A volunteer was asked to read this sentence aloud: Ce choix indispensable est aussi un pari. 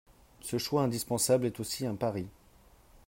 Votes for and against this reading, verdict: 4, 0, accepted